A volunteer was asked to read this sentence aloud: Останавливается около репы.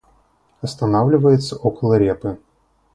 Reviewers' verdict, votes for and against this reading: accepted, 2, 0